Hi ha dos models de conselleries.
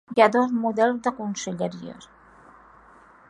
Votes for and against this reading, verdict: 3, 0, accepted